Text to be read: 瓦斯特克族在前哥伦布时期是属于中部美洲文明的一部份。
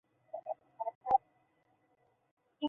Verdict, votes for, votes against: rejected, 0, 2